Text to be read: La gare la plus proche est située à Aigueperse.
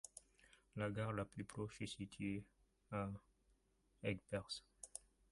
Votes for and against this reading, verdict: 0, 2, rejected